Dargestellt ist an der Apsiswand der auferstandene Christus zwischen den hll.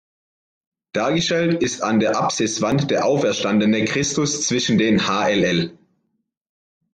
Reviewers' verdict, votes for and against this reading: accepted, 2, 0